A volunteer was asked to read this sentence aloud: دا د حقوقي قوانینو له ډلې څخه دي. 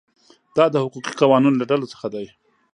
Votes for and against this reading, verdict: 1, 2, rejected